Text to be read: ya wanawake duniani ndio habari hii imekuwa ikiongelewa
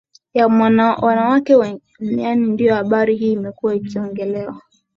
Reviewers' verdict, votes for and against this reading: rejected, 1, 2